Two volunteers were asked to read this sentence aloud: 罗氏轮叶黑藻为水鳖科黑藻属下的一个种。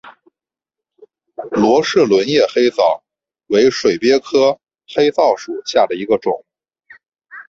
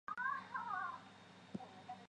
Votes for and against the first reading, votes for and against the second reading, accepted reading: 4, 1, 1, 3, first